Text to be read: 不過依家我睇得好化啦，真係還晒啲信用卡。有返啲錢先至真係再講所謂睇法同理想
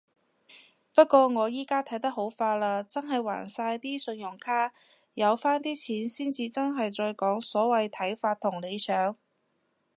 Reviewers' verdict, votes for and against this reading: rejected, 0, 2